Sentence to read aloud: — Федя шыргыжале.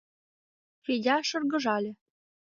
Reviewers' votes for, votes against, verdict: 2, 0, accepted